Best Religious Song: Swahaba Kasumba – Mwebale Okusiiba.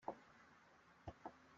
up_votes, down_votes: 0, 2